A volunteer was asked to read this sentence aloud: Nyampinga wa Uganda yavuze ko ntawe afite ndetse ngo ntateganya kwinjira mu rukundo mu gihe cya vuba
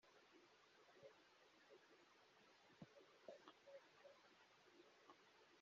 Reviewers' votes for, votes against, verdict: 0, 2, rejected